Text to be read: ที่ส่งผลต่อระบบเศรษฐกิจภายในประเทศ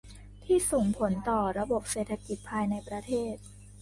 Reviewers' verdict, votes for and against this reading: accepted, 2, 0